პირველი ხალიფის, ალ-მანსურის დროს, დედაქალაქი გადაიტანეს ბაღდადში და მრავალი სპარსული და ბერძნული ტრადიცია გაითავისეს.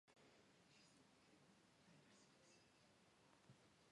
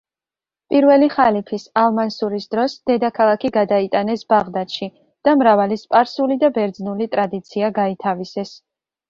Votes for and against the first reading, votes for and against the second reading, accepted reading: 0, 2, 2, 0, second